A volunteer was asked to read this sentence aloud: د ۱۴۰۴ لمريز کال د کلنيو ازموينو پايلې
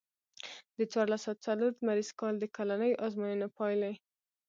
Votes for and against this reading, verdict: 0, 2, rejected